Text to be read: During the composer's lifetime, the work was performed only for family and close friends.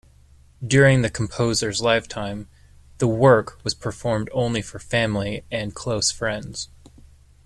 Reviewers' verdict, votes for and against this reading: accepted, 2, 0